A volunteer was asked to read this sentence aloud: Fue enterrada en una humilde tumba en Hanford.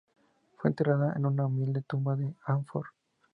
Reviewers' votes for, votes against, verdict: 2, 0, accepted